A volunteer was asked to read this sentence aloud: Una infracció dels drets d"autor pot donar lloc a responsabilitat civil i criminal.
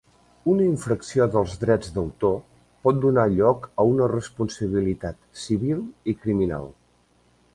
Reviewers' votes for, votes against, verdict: 0, 2, rejected